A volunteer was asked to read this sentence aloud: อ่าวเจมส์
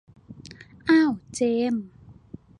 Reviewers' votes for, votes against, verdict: 1, 2, rejected